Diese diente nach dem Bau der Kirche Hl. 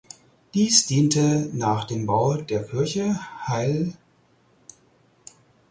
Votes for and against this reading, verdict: 0, 4, rejected